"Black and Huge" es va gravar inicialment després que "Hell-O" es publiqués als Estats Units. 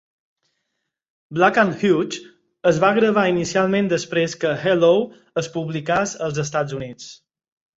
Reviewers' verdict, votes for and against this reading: rejected, 0, 4